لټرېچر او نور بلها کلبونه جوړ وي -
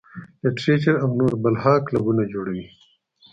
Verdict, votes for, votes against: accepted, 2, 0